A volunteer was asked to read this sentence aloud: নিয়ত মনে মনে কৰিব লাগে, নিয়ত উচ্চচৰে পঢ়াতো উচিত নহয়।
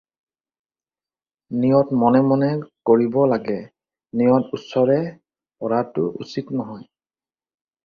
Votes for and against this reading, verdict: 0, 2, rejected